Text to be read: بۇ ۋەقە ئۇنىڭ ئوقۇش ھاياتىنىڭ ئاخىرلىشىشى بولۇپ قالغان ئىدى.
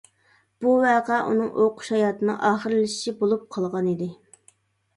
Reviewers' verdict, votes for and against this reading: accepted, 2, 0